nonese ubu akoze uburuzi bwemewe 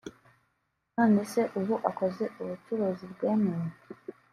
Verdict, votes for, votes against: rejected, 1, 2